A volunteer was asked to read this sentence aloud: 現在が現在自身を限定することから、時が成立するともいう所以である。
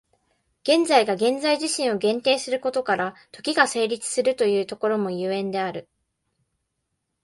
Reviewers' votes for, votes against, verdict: 0, 2, rejected